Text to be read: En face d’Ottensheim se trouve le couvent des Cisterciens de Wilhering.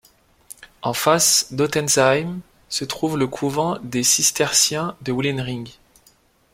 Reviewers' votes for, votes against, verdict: 2, 0, accepted